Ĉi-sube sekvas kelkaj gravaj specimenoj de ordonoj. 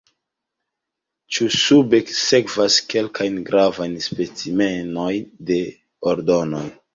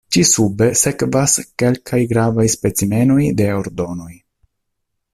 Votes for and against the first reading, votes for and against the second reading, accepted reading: 1, 2, 2, 0, second